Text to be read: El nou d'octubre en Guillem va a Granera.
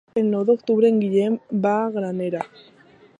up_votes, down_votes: 2, 0